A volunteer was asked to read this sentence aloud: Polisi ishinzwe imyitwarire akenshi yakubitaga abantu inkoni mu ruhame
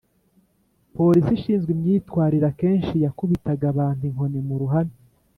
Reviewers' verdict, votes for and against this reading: accepted, 3, 0